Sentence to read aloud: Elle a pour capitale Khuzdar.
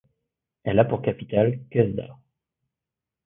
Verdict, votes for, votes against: accepted, 2, 0